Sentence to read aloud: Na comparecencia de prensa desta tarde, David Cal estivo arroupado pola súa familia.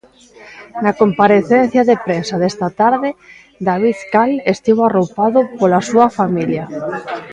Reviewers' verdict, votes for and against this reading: accepted, 2, 1